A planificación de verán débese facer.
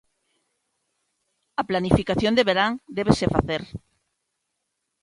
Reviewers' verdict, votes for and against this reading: accepted, 2, 0